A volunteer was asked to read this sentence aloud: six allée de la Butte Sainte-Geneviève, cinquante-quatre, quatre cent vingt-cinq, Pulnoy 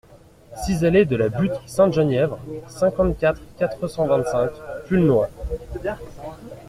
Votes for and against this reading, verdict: 0, 2, rejected